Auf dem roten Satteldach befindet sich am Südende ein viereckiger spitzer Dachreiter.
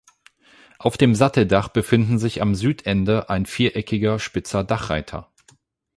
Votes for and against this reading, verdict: 0, 8, rejected